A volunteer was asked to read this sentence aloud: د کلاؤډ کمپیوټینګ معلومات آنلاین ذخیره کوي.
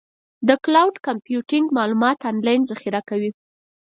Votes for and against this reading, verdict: 4, 0, accepted